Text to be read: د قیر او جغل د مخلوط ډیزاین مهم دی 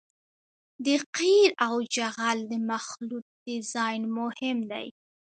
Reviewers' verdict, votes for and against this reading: rejected, 0, 2